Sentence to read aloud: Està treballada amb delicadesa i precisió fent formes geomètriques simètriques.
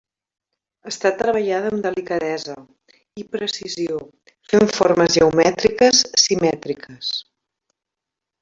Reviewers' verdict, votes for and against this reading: rejected, 0, 2